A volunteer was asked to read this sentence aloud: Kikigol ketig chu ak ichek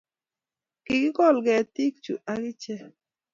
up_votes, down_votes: 2, 0